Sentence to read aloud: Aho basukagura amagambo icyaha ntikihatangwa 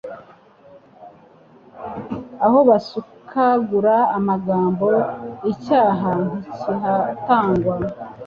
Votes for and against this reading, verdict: 3, 0, accepted